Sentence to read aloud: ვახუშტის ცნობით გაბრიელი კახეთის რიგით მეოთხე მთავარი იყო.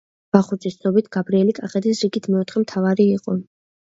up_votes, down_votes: 2, 0